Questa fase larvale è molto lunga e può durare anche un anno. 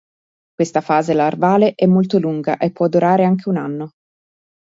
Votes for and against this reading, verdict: 2, 0, accepted